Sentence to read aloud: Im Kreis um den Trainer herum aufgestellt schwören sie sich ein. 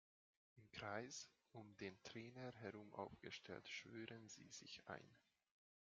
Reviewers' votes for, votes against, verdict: 1, 2, rejected